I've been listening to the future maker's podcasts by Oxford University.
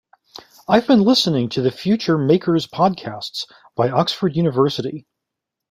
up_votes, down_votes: 2, 0